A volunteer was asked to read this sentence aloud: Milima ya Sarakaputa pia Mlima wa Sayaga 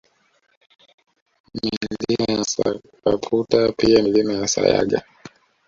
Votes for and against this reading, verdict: 0, 2, rejected